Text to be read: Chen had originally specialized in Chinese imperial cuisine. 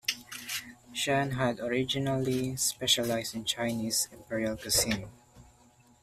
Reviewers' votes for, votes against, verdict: 2, 1, accepted